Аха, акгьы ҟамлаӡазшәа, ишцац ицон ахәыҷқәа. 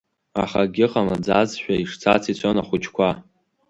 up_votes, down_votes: 3, 0